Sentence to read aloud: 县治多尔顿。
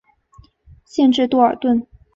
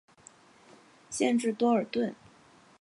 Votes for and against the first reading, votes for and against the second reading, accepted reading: 3, 0, 1, 2, first